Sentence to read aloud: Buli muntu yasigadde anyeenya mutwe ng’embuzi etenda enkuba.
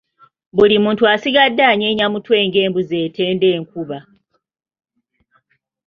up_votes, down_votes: 0, 2